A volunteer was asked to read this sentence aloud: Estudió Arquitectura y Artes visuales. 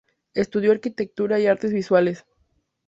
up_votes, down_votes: 2, 0